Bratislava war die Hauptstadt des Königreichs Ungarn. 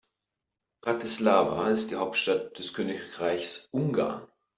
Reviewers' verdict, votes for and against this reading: rejected, 1, 2